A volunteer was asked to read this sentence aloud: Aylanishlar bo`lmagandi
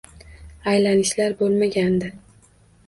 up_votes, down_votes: 2, 0